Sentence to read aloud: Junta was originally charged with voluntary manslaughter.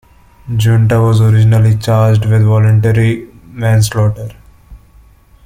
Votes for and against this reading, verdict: 0, 2, rejected